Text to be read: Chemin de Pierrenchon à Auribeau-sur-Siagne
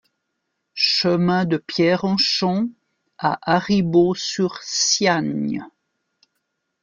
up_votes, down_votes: 1, 2